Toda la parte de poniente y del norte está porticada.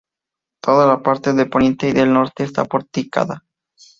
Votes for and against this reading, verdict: 2, 0, accepted